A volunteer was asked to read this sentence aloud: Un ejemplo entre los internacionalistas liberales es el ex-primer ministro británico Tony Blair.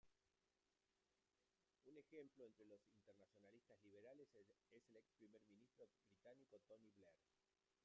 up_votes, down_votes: 0, 2